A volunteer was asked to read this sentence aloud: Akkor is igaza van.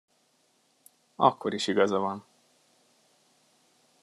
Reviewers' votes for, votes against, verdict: 2, 0, accepted